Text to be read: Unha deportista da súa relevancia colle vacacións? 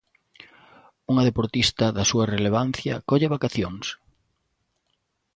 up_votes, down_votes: 2, 0